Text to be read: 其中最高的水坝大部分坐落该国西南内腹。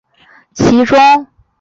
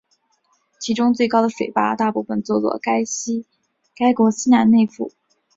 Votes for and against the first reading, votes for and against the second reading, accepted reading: 1, 3, 2, 1, second